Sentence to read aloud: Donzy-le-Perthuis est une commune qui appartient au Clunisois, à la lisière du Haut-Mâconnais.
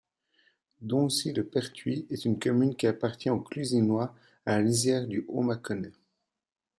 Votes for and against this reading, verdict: 0, 2, rejected